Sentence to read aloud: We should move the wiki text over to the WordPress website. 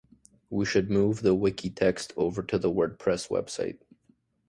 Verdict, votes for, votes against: rejected, 1, 2